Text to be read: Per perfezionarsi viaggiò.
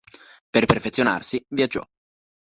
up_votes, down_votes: 2, 0